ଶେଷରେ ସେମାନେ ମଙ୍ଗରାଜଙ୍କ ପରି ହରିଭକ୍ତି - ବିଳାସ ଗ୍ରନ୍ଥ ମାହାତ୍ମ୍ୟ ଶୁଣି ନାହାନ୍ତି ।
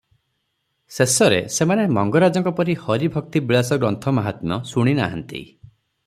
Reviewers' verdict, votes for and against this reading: accepted, 6, 0